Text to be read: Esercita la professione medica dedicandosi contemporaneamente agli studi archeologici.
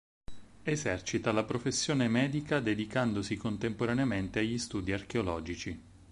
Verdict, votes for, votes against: accepted, 6, 0